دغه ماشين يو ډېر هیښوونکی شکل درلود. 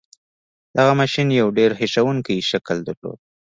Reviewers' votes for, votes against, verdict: 1, 2, rejected